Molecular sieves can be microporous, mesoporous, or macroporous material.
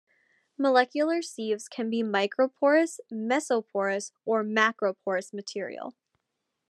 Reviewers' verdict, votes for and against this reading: accepted, 2, 0